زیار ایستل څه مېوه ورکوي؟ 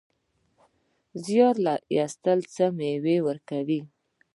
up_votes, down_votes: 0, 2